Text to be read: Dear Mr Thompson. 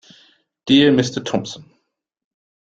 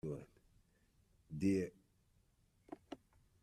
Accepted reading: first